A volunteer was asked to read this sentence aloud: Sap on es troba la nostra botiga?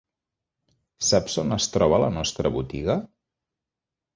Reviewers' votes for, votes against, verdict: 2, 3, rejected